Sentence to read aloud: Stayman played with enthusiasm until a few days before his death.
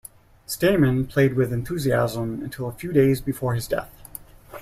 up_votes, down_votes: 2, 0